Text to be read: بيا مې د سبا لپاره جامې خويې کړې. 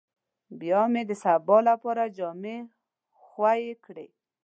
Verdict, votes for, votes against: accepted, 2, 0